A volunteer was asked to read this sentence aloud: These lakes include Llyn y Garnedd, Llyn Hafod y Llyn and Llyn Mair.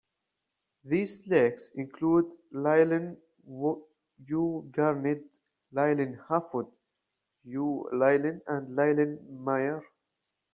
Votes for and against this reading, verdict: 1, 2, rejected